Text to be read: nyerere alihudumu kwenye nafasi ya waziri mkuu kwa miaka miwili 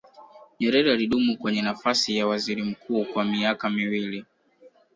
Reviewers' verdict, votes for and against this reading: rejected, 1, 2